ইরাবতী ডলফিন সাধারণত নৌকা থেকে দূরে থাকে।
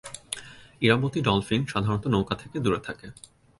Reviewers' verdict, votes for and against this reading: accepted, 3, 2